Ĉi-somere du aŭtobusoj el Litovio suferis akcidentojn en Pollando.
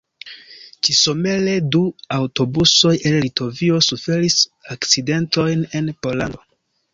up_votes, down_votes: 1, 2